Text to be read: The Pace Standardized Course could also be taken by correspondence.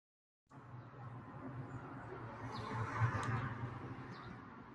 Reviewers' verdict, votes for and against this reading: rejected, 0, 4